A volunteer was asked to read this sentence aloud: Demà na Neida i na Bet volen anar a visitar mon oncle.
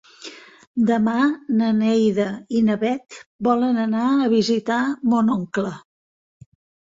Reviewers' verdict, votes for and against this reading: accepted, 3, 0